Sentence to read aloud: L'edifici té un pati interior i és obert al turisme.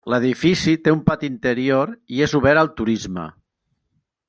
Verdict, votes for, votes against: accepted, 3, 0